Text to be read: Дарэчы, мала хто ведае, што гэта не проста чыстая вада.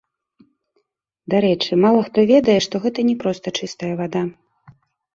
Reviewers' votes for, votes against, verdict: 1, 2, rejected